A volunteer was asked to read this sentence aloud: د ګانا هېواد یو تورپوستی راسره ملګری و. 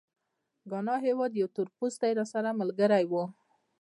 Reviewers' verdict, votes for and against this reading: accepted, 2, 0